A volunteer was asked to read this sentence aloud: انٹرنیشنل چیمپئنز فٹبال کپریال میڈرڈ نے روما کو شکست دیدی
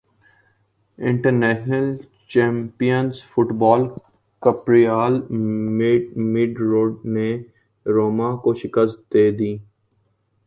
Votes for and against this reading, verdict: 1, 2, rejected